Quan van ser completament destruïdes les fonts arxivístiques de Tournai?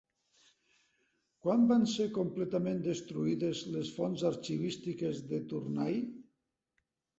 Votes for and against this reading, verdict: 2, 0, accepted